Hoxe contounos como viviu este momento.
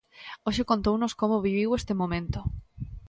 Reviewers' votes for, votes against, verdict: 2, 0, accepted